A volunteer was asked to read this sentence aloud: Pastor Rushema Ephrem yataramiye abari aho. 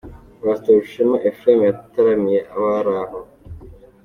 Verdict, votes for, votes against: accepted, 3, 0